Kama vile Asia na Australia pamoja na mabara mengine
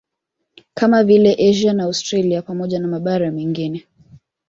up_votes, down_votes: 2, 0